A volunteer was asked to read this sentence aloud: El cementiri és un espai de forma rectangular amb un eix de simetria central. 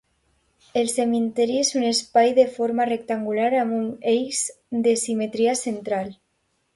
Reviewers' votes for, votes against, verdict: 2, 0, accepted